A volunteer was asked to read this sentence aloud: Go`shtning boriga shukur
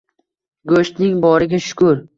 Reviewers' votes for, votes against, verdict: 2, 0, accepted